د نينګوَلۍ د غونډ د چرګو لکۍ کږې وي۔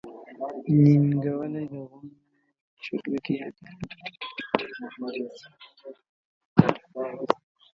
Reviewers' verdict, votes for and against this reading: rejected, 0, 2